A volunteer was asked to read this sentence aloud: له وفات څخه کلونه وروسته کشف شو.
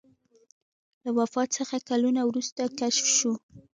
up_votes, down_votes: 2, 0